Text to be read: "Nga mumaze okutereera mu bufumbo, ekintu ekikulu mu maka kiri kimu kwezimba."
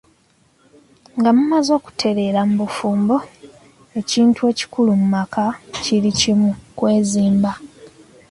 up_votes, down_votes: 2, 1